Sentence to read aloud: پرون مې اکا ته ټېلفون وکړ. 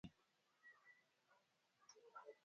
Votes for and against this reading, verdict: 1, 2, rejected